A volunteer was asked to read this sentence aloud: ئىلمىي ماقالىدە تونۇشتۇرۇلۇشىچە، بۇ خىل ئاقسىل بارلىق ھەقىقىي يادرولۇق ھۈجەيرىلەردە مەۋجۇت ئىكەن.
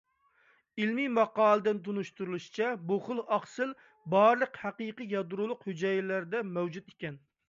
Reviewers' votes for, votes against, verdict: 2, 1, accepted